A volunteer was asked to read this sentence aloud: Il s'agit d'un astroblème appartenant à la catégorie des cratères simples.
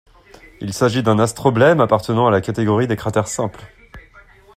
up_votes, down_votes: 2, 0